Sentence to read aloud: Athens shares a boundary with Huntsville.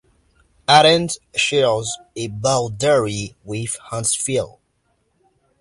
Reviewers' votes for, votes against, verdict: 3, 1, accepted